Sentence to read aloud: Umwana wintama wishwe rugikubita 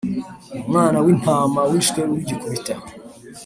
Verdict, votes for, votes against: accepted, 2, 0